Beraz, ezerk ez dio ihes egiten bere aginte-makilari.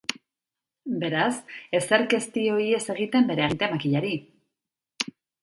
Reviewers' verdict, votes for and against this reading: rejected, 1, 2